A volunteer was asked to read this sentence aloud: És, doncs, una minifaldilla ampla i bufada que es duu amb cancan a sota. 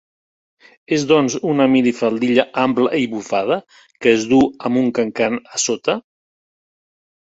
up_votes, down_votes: 1, 2